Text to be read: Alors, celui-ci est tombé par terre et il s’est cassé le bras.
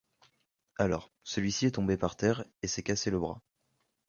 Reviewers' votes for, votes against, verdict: 1, 2, rejected